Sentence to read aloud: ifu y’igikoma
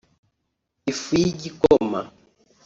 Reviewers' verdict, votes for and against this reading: accepted, 2, 1